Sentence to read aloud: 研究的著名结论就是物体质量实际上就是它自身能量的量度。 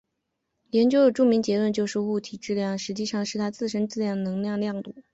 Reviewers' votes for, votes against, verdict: 2, 0, accepted